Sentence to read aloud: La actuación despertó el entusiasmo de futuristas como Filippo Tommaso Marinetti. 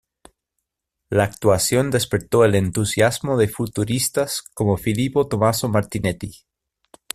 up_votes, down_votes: 1, 2